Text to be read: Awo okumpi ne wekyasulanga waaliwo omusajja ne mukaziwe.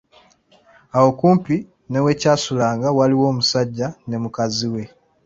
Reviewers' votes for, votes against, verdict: 2, 0, accepted